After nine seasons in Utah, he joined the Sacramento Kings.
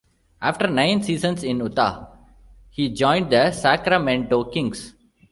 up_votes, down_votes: 2, 0